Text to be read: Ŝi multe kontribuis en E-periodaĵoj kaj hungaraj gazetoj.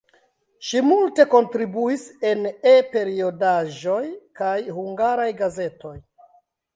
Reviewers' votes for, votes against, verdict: 3, 2, accepted